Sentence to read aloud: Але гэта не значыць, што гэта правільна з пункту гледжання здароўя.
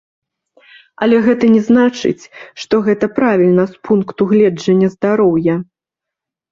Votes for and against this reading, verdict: 2, 0, accepted